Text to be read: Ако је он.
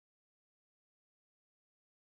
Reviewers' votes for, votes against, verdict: 0, 2, rejected